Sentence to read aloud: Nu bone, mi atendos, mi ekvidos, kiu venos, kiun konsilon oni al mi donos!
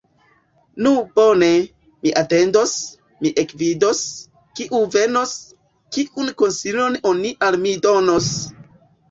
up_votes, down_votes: 2, 1